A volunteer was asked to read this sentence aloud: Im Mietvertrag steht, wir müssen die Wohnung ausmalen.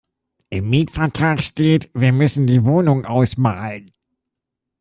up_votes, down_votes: 2, 0